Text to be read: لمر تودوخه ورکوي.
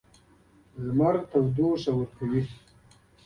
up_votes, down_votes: 2, 0